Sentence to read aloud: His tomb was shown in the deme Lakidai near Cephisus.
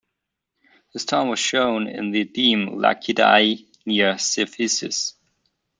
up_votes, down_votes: 0, 2